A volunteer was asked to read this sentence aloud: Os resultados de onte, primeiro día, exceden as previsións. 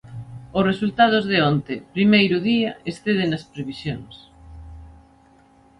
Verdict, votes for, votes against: accepted, 2, 0